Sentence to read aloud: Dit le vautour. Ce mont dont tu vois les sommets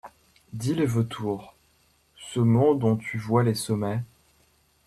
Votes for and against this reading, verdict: 2, 0, accepted